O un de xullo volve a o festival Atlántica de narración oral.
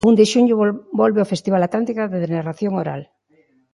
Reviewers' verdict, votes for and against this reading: rejected, 1, 2